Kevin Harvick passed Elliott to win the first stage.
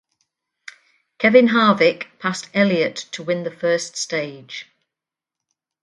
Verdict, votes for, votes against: accepted, 4, 0